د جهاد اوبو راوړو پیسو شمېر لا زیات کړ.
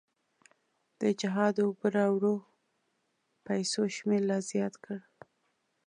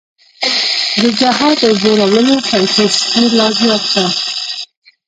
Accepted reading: first